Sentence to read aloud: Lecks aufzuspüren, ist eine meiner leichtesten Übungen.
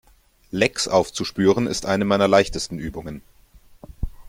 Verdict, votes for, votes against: accepted, 2, 0